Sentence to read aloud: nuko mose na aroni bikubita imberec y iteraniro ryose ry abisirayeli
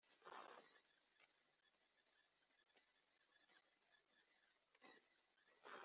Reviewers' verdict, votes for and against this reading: rejected, 1, 2